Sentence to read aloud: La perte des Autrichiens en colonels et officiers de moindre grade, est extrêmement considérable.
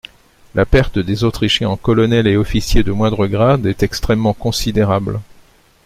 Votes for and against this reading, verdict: 2, 0, accepted